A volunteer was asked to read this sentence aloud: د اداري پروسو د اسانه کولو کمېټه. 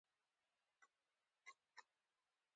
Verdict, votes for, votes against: accepted, 2, 0